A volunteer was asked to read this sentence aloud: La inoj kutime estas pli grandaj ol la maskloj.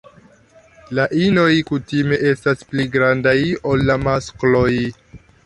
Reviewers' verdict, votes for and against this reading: rejected, 1, 2